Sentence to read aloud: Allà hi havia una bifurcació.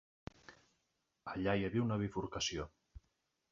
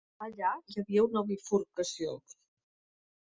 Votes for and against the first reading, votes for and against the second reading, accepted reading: 3, 0, 0, 2, first